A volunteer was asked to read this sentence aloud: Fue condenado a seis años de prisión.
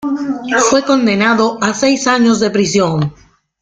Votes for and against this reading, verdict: 2, 1, accepted